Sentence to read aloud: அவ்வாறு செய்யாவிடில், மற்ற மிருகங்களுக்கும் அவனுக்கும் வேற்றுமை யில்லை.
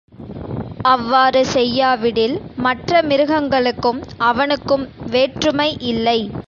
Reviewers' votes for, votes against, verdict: 2, 0, accepted